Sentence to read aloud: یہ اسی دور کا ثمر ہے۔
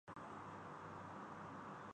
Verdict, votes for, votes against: rejected, 0, 5